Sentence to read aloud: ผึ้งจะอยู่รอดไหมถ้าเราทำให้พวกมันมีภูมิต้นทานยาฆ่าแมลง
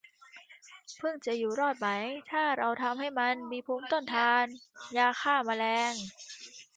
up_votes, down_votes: 2, 1